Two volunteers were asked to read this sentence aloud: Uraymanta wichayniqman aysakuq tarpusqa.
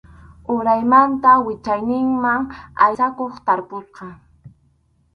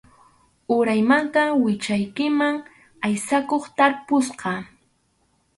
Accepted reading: first